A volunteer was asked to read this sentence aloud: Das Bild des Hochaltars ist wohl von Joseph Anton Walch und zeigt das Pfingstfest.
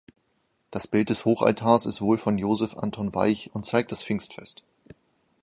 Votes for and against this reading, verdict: 2, 1, accepted